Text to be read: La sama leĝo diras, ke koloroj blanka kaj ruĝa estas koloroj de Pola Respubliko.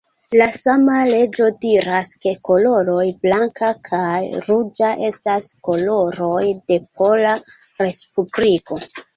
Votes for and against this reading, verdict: 2, 1, accepted